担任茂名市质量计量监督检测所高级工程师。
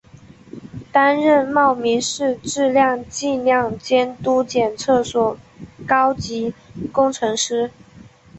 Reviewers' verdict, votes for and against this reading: accepted, 3, 0